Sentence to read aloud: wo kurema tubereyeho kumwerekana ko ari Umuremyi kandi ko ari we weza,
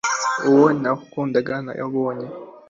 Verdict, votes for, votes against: rejected, 1, 2